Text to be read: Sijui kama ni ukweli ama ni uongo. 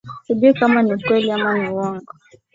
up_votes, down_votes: 4, 0